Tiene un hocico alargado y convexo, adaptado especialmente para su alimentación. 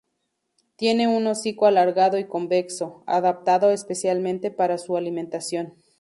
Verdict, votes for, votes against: accepted, 6, 0